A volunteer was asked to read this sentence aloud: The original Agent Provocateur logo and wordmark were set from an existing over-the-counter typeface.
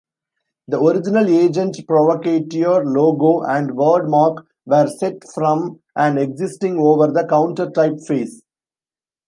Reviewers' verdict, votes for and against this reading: rejected, 0, 2